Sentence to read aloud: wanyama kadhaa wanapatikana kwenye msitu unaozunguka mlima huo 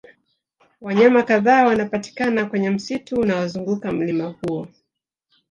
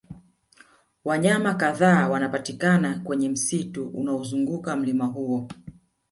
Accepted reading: second